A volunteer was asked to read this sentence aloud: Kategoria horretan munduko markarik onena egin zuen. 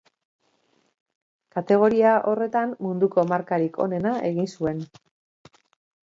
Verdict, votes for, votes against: accepted, 2, 0